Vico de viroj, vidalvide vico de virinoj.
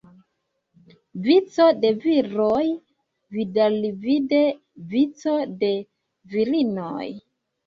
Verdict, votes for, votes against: accepted, 2, 1